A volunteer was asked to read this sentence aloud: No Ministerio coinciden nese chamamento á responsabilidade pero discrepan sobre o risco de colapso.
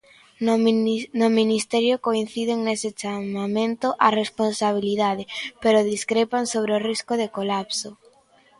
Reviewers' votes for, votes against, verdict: 1, 3, rejected